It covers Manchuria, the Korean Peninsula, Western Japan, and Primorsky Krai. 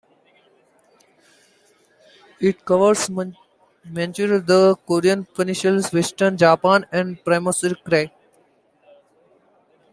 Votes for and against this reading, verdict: 1, 2, rejected